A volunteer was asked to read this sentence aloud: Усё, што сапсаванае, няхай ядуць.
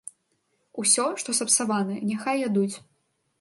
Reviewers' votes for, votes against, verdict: 3, 0, accepted